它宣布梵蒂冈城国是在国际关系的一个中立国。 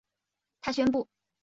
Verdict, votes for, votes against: rejected, 0, 2